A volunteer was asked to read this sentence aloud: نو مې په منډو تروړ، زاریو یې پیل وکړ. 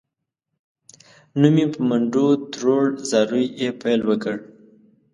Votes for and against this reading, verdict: 2, 0, accepted